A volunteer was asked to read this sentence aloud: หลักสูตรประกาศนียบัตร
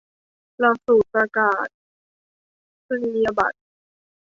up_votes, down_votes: 1, 2